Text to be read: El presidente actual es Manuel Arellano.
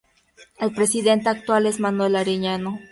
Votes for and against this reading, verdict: 2, 0, accepted